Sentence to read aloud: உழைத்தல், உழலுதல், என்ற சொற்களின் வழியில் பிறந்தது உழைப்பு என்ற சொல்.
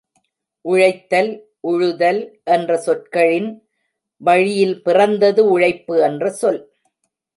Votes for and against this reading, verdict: 0, 2, rejected